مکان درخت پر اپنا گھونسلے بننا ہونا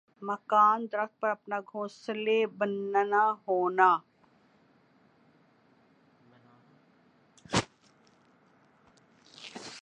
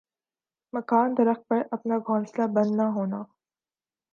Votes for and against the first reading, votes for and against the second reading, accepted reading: 1, 2, 2, 0, second